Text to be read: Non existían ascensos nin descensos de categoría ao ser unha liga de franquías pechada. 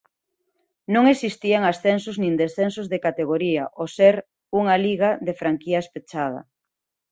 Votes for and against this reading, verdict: 2, 0, accepted